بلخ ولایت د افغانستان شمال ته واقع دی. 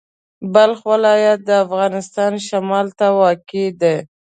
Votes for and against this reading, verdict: 2, 0, accepted